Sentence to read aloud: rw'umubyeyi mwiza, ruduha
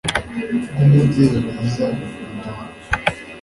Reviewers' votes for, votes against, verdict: 1, 2, rejected